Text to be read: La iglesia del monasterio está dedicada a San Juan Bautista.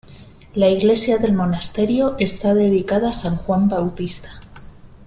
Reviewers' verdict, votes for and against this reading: accepted, 2, 0